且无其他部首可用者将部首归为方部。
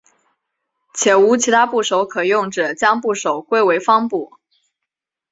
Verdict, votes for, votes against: accepted, 2, 0